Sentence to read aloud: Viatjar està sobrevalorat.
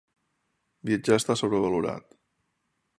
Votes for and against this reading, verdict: 3, 0, accepted